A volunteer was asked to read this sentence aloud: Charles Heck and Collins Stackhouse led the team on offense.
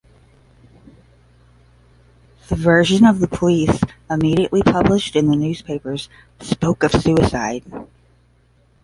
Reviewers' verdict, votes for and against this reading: rejected, 0, 5